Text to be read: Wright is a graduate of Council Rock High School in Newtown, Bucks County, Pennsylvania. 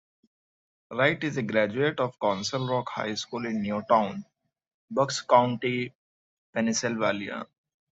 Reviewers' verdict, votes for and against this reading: accepted, 2, 0